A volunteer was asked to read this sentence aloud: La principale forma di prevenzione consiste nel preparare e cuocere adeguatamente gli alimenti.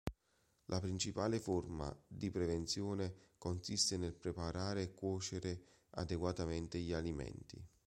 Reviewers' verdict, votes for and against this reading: accepted, 2, 0